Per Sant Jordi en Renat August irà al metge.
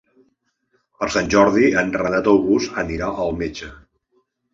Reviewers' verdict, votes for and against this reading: rejected, 1, 2